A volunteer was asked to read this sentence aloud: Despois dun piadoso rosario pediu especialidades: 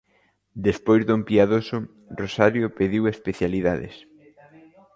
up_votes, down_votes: 1, 2